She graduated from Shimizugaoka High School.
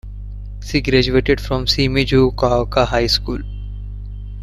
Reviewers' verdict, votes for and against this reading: accepted, 2, 1